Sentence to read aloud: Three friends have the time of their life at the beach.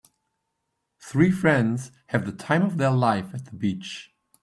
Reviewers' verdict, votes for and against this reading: accepted, 2, 0